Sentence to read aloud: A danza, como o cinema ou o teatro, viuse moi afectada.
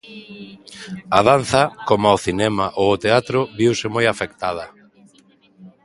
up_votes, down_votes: 2, 1